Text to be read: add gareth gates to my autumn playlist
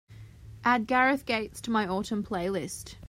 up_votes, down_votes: 2, 0